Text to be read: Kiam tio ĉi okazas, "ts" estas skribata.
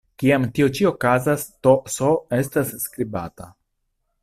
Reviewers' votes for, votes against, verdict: 1, 2, rejected